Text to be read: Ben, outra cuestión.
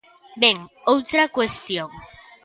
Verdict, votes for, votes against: accepted, 2, 0